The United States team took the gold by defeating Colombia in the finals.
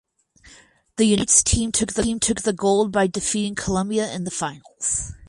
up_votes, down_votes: 0, 4